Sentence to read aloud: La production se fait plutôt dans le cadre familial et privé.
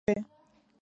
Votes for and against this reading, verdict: 1, 2, rejected